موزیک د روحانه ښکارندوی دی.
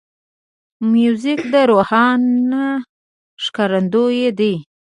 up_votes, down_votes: 2, 0